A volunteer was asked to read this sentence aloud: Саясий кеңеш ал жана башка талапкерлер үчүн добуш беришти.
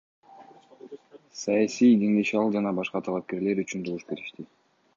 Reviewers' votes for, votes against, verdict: 2, 0, accepted